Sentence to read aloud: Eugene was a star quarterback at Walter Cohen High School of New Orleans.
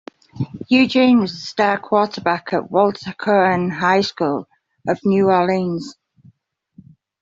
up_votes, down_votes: 2, 0